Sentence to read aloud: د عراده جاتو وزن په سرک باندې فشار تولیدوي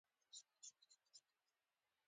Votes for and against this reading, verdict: 1, 2, rejected